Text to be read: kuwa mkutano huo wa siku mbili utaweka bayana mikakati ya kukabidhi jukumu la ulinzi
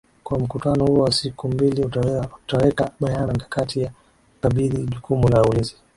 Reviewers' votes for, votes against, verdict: 0, 2, rejected